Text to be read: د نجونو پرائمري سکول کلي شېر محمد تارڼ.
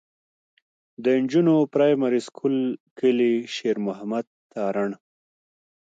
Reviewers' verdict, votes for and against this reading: accepted, 2, 0